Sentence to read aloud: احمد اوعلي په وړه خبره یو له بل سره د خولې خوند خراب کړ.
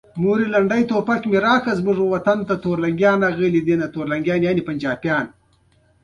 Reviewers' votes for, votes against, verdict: 0, 2, rejected